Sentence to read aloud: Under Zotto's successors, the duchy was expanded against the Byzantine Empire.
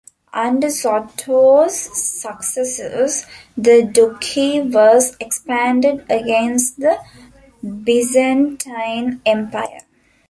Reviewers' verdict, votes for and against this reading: rejected, 0, 2